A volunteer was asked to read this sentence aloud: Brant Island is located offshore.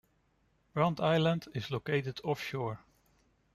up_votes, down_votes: 2, 0